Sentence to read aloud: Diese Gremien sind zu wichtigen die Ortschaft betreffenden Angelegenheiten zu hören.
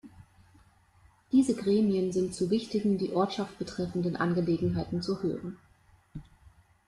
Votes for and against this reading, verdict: 2, 0, accepted